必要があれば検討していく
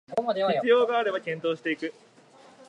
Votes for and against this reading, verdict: 2, 1, accepted